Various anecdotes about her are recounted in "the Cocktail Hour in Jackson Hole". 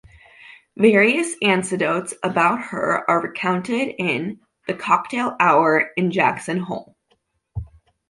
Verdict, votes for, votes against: rejected, 0, 2